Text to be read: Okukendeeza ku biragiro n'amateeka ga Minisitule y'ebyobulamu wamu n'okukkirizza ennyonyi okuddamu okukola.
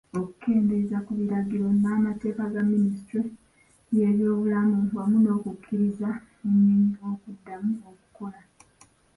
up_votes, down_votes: 0, 2